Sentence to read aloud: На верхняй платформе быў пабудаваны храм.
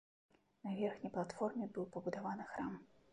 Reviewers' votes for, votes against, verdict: 2, 1, accepted